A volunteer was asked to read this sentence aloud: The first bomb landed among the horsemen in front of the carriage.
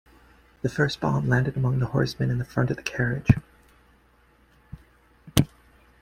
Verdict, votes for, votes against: accepted, 2, 0